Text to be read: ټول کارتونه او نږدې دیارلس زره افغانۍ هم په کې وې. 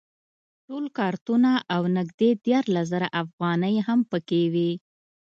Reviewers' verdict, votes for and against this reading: accepted, 2, 0